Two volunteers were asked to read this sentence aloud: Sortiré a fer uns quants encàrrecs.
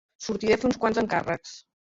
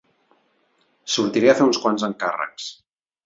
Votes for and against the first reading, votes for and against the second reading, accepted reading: 1, 2, 4, 0, second